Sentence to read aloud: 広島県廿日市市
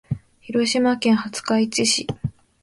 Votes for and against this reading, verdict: 2, 0, accepted